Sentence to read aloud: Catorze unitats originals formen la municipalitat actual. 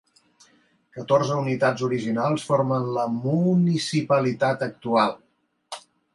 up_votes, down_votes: 2, 0